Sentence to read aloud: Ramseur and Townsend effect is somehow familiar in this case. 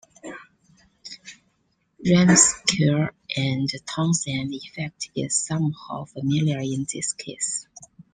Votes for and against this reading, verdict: 2, 1, accepted